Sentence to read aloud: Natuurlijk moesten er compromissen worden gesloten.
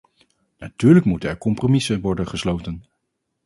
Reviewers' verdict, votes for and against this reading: rejected, 0, 2